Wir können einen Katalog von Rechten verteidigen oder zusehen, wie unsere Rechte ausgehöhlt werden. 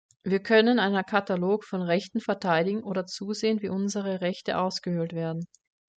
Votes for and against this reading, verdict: 1, 2, rejected